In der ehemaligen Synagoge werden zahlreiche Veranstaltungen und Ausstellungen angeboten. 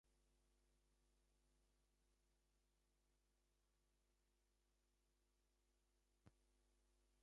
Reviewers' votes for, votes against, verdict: 0, 2, rejected